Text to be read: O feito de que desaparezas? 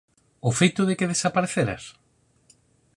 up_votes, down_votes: 0, 4